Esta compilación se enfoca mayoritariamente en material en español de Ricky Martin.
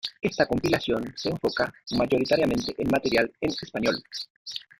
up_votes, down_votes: 0, 2